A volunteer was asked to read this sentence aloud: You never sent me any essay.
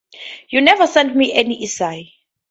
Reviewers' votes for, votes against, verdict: 4, 0, accepted